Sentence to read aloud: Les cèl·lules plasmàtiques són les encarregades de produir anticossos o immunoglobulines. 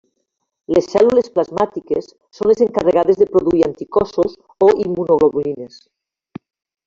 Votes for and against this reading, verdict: 1, 2, rejected